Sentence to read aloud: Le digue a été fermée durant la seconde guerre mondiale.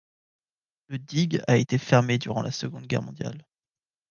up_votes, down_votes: 2, 0